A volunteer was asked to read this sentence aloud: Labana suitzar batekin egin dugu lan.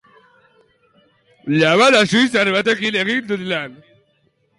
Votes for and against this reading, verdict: 0, 2, rejected